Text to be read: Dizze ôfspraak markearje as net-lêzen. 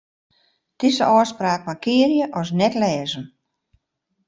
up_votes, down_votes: 0, 2